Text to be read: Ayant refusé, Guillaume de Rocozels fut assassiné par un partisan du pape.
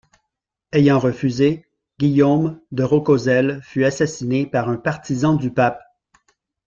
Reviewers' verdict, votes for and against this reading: accepted, 2, 1